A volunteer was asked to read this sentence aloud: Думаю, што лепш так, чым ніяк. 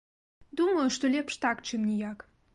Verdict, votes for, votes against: accepted, 2, 0